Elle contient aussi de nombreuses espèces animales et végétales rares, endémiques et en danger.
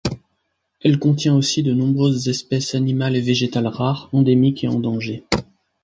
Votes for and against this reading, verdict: 2, 0, accepted